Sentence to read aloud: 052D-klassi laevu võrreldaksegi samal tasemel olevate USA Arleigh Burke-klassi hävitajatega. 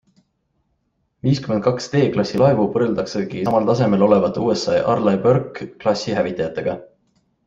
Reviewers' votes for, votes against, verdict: 0, 2, rejected